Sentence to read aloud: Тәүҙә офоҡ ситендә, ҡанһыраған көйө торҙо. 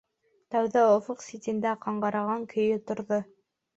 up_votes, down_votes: 0, 2